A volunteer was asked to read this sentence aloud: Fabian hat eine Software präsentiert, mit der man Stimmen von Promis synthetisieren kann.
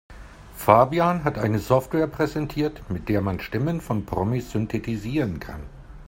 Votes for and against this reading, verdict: 3, 0, accepted